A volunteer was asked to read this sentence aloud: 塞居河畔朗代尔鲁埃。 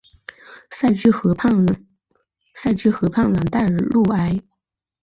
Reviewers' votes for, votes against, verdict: 0, 2, rejected